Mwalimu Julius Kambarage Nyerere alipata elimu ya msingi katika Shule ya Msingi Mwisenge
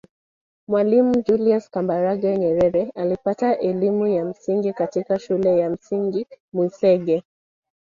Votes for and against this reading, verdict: 0, 2, rejected